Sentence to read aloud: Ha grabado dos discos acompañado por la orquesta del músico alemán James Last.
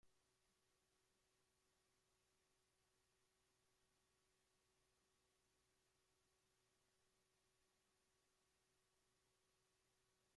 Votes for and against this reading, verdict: 0, 2, rejected